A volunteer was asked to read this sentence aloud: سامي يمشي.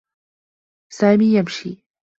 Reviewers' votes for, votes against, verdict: 2, 0, accepted